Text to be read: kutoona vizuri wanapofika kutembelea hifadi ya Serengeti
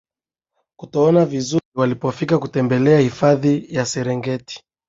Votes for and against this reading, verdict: 2, 0, accepted